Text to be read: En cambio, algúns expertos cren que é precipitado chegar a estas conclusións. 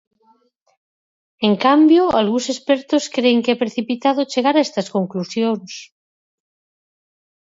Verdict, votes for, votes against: accepted, 4, 0